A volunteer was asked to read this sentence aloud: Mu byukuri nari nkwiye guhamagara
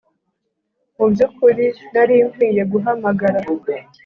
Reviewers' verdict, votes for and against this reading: accepted, 2, 0